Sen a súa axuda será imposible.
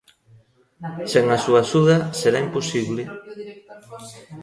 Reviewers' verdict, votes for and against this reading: rejected, 0, 2